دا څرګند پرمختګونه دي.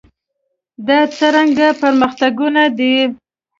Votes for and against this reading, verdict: 0, 2, rejected